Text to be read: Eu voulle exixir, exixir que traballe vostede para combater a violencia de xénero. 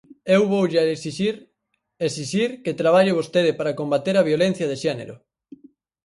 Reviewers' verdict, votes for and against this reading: rejected, 0, 4